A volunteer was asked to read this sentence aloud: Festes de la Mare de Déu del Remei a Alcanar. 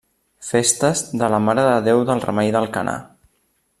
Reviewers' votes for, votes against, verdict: 1, 2, rejected